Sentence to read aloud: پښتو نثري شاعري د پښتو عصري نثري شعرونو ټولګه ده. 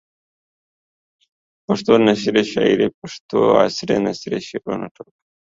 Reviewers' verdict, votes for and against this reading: rejected, 0, 2